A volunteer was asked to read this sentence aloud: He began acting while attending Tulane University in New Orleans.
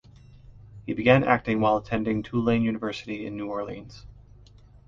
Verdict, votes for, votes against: accepted, 2, 0